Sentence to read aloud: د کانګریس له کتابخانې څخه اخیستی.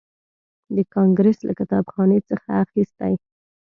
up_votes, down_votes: 2, 0